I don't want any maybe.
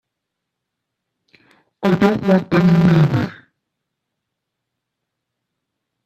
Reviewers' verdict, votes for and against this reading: rejected, 0, 2